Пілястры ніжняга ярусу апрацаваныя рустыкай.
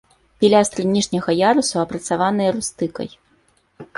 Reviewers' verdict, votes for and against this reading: accepted, 2, 0